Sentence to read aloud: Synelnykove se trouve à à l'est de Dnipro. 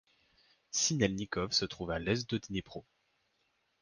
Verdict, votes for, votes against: rejected, 1, 2